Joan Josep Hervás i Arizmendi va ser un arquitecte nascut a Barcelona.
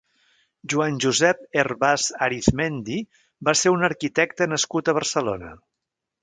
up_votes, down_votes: 0, 2